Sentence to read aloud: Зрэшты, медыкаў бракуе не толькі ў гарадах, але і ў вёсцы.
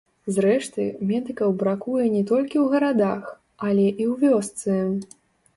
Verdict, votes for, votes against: rejected, 0, 2